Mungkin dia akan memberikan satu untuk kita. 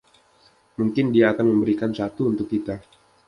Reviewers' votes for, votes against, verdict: 2, 0, accepted